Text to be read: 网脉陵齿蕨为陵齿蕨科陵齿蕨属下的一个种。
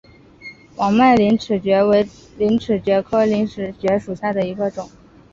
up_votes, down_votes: 2, 1